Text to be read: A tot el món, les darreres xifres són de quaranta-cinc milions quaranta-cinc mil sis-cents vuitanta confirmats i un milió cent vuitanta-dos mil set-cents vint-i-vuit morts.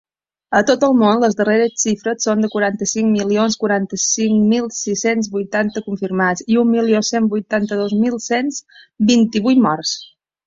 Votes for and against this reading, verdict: 1, 4, rejected